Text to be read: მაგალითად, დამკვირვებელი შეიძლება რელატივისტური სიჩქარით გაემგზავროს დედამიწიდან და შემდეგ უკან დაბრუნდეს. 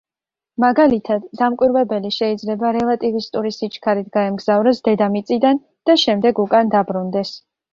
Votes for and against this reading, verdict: 2, 0, accepted